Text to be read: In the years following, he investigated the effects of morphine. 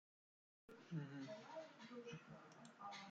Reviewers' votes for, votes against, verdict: 0, 2, rejected